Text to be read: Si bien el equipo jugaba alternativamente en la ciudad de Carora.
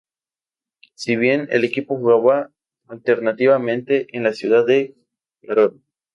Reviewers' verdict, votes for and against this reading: rejected, 0, 2